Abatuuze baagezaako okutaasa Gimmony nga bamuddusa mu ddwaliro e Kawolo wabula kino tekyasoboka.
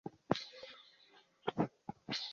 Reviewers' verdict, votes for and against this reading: rejected, 0, 2